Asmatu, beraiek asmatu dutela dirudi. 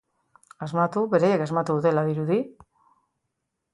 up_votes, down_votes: 2, 0